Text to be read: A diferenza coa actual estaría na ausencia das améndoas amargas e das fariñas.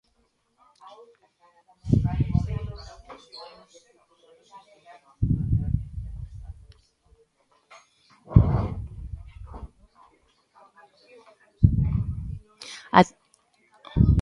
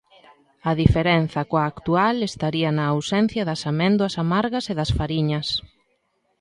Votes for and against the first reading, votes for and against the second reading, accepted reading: 0, 2, 2, 1, second